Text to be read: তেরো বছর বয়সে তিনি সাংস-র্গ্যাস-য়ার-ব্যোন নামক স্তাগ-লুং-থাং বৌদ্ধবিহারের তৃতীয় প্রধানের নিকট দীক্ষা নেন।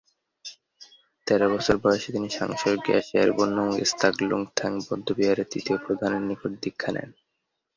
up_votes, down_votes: 1, 2